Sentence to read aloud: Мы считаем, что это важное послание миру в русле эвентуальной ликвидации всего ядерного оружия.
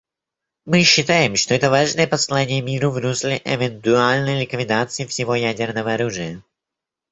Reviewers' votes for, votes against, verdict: 1, 2, rejected